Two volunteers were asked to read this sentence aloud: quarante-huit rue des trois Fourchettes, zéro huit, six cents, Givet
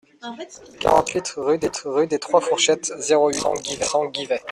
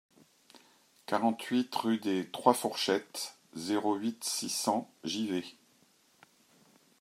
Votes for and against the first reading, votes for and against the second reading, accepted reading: 0, 2, 2, 0, second